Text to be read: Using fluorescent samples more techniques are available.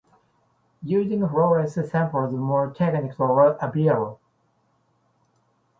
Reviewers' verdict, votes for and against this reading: rejected, 0, 2